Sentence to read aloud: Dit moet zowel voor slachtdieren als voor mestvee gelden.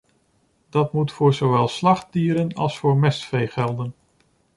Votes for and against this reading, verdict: 1, 2, rejected